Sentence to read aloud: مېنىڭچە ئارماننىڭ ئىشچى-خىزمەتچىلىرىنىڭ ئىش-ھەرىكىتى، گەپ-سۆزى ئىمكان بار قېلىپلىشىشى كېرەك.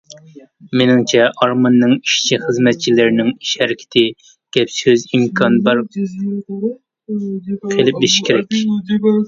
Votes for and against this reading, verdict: 0, 2, rejected